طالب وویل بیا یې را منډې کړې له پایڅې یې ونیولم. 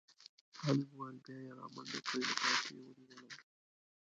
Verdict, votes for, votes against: rejected, 2, 3